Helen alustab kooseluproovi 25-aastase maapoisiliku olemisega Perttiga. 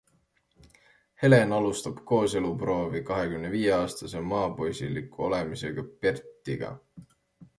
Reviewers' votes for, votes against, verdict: 0, 2, rejected